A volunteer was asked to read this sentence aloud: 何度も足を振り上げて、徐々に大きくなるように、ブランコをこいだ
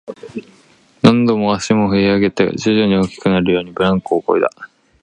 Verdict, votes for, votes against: accepted, 2, 0